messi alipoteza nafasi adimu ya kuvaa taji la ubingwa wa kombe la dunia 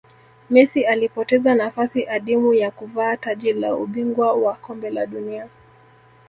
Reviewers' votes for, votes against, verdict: 1, 2, rejected